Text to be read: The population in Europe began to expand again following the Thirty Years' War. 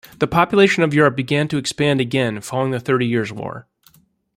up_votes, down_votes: 0, 2